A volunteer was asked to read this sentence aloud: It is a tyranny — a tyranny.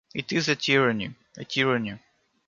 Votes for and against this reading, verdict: 2, 0, accepted